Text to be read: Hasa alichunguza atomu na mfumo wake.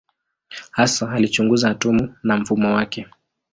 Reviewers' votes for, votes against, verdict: 10, 1, accepted